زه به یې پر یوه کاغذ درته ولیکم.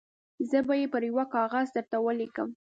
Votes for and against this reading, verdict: 2, 0, accepted